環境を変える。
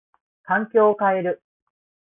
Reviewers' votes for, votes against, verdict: 2, 0, accepted